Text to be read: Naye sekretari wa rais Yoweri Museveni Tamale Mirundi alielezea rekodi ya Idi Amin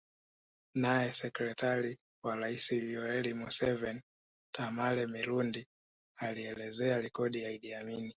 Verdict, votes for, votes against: accepted, 2, 1